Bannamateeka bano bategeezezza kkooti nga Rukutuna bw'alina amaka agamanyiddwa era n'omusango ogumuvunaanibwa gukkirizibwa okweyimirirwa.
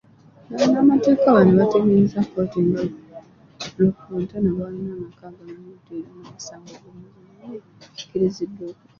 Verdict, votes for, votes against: rejected, 0, 2